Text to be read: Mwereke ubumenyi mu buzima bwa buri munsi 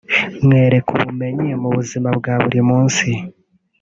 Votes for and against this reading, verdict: 2, 0, accepted